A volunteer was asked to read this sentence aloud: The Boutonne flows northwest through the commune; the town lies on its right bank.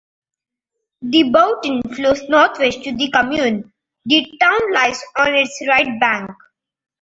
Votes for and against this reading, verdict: 2, 0, accepted